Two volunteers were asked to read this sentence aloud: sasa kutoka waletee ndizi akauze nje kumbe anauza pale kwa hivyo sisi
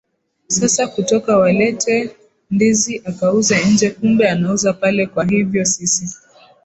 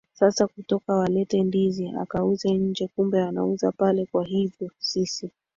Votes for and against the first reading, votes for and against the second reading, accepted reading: 2, 1, 1, 3, first